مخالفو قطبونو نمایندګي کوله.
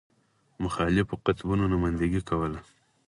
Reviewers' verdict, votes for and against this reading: rejected, 0, 4